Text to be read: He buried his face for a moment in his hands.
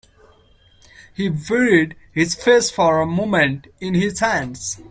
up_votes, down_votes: 0, 2